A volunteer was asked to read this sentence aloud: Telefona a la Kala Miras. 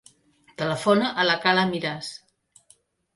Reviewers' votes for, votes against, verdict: 3, 0, accepted